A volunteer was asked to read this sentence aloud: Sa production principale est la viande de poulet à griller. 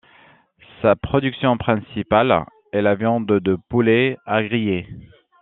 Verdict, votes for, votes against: accepted, 2, 0